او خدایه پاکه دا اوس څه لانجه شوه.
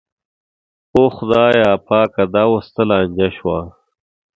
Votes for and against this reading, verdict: 2, 0, accepted